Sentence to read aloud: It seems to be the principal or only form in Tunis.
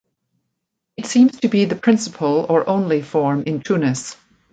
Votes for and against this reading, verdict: 2, 0, accepted